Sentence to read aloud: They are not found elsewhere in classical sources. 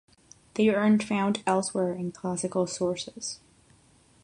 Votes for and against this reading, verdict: 0, 6, rejected